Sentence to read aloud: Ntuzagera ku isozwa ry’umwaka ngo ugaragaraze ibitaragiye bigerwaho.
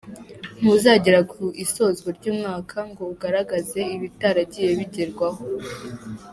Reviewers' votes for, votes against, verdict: 2, 1, accepted